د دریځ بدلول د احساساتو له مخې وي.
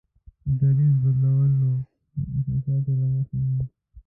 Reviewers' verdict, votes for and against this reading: rejected, 0, 2